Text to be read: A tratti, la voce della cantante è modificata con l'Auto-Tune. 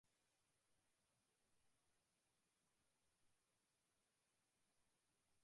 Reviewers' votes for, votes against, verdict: 0, 2, rejected